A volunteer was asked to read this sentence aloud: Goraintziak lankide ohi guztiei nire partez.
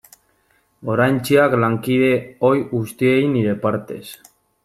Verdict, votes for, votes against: accepted, 2, 1